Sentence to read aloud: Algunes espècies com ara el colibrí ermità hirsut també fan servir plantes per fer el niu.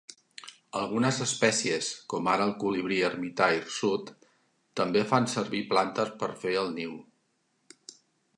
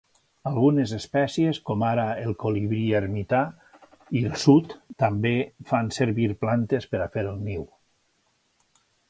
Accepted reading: first